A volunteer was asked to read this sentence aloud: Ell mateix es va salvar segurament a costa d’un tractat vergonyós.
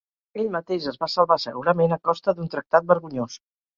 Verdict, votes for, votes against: accepted, 2, 0